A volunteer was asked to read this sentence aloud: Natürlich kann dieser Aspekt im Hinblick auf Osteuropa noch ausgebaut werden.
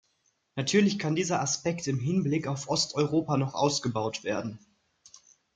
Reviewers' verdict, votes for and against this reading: accepted, 2, 0